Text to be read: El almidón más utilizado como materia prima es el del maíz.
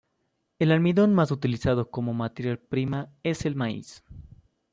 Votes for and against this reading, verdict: 1, 2, rejected